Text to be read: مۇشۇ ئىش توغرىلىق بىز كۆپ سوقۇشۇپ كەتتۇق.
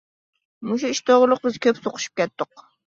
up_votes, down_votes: 2, 0